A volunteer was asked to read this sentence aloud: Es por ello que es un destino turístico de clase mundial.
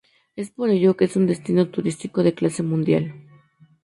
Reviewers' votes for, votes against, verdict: 6, 0, accepted